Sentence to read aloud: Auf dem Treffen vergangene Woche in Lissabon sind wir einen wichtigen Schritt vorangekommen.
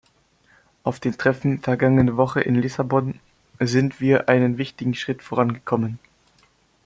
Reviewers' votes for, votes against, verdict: 2, 0, accepted